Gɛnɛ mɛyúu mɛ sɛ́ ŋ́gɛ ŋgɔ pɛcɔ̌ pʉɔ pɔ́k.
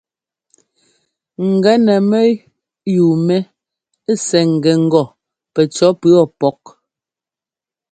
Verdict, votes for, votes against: accepted, 2, 0